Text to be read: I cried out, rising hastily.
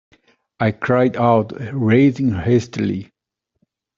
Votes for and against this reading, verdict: 1, 3, rejected